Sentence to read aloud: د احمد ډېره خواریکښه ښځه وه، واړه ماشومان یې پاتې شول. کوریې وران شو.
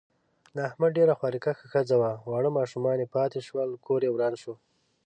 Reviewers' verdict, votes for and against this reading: rejected, 0, 2